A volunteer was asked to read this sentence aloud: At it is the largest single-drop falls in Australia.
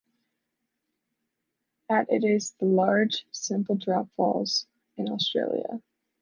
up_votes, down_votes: 0, 2